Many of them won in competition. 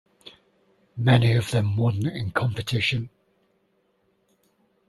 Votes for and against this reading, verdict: 2, 0, accepted